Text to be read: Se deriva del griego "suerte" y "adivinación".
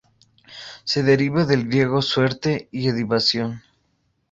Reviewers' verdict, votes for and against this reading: rejected, 0, 2